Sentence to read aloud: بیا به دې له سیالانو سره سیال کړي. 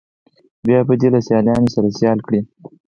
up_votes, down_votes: 4, 2